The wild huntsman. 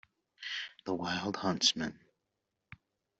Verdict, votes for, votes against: accepted, 2, 0